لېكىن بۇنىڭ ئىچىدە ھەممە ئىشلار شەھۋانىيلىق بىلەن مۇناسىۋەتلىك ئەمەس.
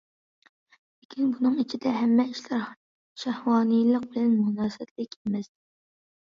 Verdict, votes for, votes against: accepted, 2, 0